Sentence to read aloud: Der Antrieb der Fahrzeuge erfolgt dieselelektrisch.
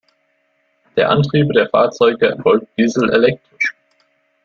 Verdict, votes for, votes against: rejected, 1, 2